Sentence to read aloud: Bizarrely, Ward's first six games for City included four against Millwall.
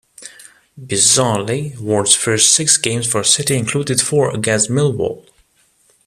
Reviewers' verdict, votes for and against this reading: accepted, 2, 0